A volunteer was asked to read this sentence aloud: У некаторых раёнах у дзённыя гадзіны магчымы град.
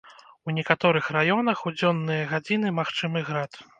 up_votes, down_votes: 2, 0